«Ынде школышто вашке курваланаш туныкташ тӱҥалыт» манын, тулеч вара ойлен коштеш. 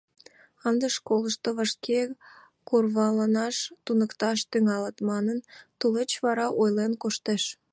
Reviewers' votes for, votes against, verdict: 2, 0, accepted